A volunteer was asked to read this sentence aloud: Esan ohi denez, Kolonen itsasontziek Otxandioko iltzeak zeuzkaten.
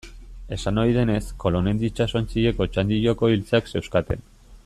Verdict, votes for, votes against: rejected, 1, 2